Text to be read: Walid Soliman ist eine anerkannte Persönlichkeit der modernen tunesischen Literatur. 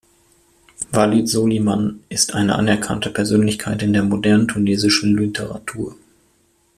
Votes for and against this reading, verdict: 1, 2, rejected